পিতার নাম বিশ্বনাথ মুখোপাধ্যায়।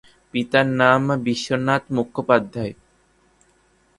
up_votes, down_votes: 3, 0